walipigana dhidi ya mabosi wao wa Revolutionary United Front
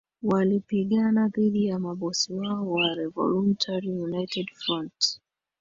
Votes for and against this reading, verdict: 2, 0, accepted